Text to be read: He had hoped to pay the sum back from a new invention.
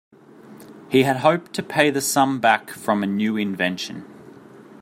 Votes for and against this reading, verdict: 2, 0, accepted